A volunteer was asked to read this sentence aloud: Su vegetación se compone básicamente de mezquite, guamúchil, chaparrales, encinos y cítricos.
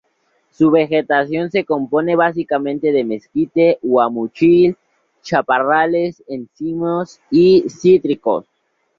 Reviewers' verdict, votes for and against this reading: rejected, 0, 2